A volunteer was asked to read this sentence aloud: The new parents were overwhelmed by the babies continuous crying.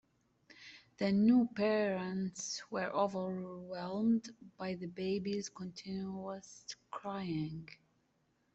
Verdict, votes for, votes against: accepted, 2, 0